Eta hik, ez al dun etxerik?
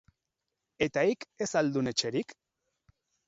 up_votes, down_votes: 4, 0